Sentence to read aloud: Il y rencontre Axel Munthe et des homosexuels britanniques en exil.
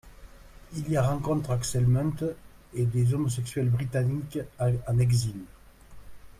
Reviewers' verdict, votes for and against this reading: rejected, 0, 2